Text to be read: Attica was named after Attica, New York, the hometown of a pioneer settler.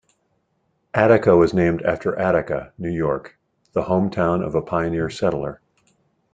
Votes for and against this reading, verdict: 2, 0, accepted